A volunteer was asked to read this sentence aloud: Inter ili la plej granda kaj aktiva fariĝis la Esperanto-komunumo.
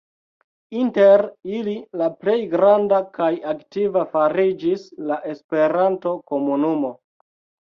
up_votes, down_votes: 1, 3